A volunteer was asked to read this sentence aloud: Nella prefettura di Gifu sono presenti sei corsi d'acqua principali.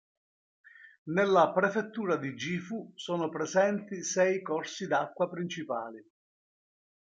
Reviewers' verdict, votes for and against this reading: accepted, 2, 0